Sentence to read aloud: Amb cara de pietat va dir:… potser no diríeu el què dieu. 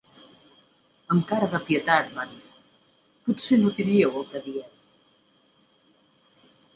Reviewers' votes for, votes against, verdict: 3, 1, accepted